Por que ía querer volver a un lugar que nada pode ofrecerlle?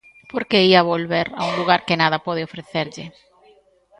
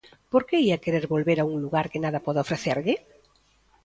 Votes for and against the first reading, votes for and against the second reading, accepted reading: 1, 2, 2, 0, second